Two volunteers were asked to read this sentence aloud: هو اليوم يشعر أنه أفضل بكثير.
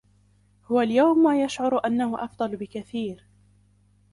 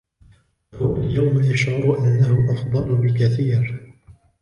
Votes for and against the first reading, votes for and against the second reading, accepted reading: 2, 0, 0, 2, first